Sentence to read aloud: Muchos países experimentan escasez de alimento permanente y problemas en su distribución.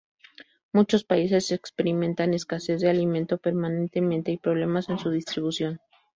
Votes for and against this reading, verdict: 0, 2, rejected